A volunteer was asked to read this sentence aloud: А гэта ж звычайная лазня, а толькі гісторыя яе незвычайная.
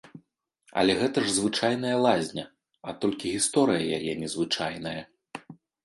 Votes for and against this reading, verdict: 0, 2, rejected